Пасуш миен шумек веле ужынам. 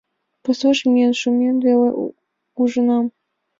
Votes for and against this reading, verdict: 2, 0, accepted